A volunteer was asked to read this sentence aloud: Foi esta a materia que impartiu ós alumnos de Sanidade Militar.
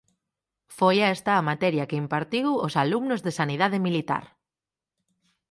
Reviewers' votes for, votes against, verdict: 2, 4, rejected